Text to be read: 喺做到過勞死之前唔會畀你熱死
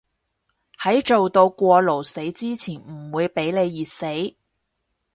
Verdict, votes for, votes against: accepted, 4, 0